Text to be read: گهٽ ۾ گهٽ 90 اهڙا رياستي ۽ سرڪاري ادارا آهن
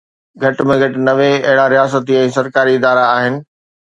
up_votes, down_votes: 0, 2